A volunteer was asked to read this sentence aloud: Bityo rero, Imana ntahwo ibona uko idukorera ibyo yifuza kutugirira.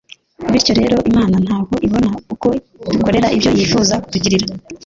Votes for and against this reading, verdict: 1, 2, rejected